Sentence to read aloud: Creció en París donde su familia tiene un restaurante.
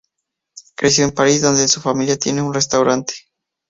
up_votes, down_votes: 4, 0